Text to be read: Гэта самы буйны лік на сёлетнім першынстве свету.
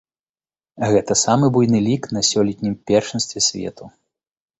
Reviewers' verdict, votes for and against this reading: accepted, 2, 0